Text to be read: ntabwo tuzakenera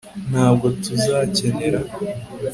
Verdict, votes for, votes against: accepted, 2, 0